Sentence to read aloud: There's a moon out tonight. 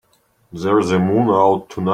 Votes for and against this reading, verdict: 0, 2, rejected